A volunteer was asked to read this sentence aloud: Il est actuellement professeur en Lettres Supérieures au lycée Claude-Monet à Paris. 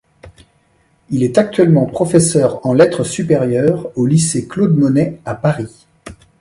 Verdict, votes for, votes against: accepted, 2, 0